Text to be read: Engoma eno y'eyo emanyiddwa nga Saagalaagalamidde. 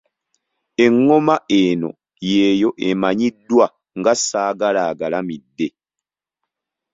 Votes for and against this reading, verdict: 2, 0, accepted